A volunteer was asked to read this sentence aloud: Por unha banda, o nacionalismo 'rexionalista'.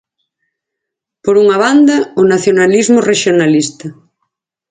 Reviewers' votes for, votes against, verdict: 4, 0, accepted